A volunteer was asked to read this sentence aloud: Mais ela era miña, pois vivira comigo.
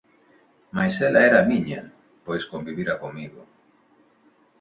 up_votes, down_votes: 1, 4